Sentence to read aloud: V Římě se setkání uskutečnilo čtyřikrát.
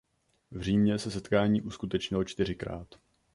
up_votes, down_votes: 2, 0